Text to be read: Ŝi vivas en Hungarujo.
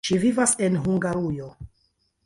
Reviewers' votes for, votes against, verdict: 2, 1, accepted